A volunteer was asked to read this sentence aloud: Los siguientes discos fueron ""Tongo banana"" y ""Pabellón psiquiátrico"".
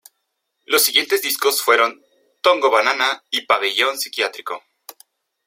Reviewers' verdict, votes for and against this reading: accepted, 2, 0